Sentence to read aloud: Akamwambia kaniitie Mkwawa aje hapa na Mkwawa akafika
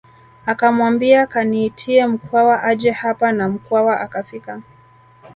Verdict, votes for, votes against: accepted, 2, 0